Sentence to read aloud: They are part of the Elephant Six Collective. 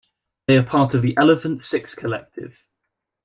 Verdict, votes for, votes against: accepted, 2, 0